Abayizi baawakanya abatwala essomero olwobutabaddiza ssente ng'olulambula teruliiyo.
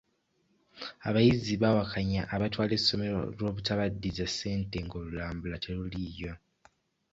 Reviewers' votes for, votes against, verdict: 2, 0, accepted